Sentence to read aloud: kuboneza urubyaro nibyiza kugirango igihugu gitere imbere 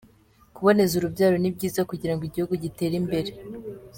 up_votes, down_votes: 2, 0